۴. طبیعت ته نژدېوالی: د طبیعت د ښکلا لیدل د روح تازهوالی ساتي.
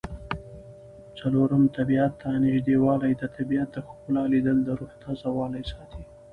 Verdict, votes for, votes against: rejected, 0, 2